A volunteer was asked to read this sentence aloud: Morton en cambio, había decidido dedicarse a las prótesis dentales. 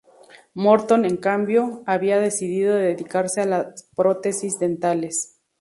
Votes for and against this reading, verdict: 0, 2, rejected